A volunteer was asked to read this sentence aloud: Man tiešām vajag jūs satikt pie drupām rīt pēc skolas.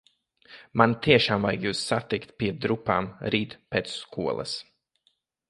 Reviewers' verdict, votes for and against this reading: accepted, 2, 1